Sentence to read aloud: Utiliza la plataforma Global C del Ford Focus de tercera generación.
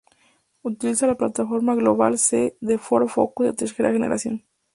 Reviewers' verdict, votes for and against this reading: rejected, 0, 2